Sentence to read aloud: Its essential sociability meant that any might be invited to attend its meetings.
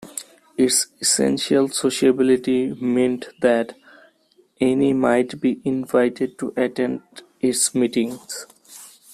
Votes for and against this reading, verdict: 1, 2, rejected